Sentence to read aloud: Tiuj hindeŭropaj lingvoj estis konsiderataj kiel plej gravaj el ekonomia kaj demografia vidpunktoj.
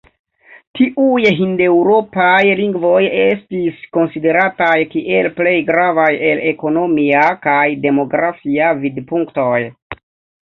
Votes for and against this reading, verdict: 1, 2, rejected